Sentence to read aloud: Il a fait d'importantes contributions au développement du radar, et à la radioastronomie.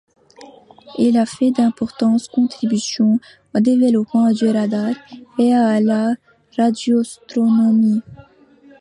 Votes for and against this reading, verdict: 2, 1, accepted